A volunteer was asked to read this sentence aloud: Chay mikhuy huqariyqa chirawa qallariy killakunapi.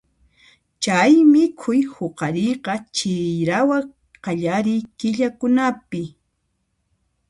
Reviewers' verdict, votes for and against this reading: rejected, 1, 2